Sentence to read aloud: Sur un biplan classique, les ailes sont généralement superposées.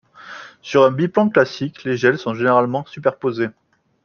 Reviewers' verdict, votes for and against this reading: accepted, 2, 0